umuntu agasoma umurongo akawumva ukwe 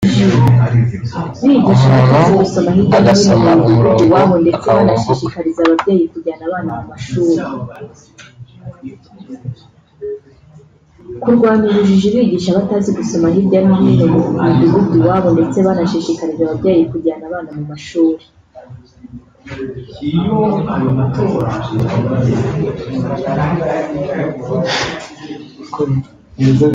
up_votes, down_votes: 1, 2